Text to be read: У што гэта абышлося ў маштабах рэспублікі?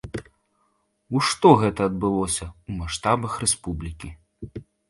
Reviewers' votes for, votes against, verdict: 1, 2, rejected